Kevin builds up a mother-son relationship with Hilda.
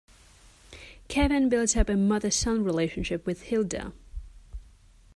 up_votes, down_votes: 2, 0